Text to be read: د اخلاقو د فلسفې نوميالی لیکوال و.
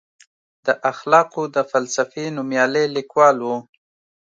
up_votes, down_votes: 2, 0